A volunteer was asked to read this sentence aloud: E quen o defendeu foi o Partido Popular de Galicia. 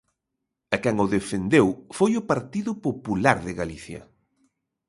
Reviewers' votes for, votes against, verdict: 4, 0, accepted